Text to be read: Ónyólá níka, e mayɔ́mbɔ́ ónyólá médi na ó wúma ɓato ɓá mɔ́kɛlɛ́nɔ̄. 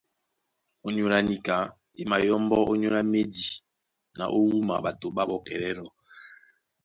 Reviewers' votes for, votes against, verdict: 3, 0, accepted